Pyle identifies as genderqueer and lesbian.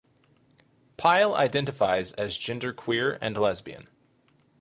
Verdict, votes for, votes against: accepted, 4, 0